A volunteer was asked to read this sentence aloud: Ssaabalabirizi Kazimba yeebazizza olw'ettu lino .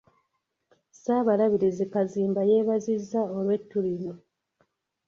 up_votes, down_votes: 2, 0